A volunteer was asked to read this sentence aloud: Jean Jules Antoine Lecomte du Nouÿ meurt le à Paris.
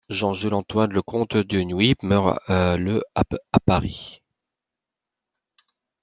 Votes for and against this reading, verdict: 0, 2, rejected